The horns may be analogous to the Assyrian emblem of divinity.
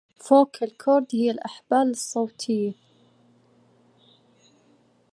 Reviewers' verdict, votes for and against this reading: rejected, 0, 2